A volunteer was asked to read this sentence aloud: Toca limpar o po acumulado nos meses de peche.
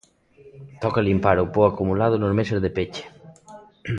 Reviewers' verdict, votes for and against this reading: rejected, 1, 2